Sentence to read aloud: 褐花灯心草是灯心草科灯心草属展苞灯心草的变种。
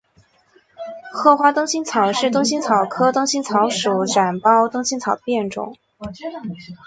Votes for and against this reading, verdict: 2, 1, accepted